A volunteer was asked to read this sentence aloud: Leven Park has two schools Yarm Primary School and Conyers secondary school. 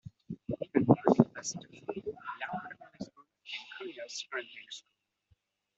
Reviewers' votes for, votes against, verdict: 0, 2, rejected